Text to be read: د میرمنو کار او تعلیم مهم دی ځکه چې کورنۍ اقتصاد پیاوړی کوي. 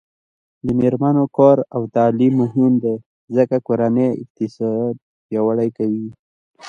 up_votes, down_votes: 2, 0